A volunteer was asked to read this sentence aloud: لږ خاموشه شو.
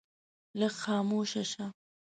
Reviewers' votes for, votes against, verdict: 1, 2, rejected